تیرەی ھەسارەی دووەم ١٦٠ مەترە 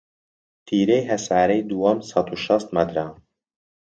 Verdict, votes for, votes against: rejected, 0, 2